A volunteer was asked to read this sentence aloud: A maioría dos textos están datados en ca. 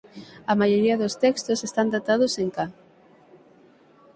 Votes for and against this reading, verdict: 6, 0, accepted